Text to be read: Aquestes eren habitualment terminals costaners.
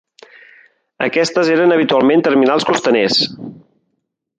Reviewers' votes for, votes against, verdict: 3, 0, accepted